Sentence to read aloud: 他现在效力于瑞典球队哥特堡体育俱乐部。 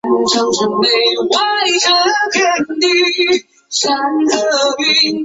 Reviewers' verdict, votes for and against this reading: rejected, 1, 3